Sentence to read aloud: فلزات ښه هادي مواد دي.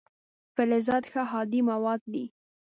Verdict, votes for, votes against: accepted, 3, 0